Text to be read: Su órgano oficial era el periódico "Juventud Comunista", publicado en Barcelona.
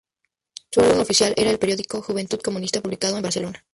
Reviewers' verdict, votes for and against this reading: rejected, 0, 2